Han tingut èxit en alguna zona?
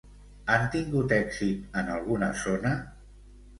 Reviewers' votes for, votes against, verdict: 2, 0, accepted